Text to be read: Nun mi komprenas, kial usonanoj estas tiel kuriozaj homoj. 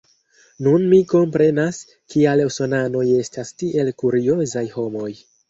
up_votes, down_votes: 2, 0